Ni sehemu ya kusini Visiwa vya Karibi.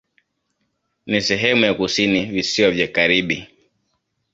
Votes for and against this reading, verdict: 2, 1, accepted